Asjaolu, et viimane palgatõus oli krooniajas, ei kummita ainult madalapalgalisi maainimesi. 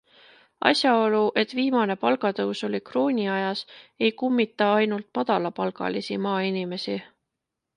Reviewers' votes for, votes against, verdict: 2, 0, accepted